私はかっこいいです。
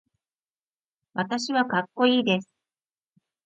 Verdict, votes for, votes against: accepted, 2, 0